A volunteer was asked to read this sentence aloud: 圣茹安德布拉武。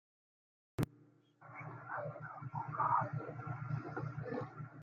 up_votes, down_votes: 0, 2